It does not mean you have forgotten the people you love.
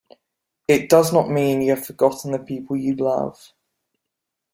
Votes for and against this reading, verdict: 2, 1, accepted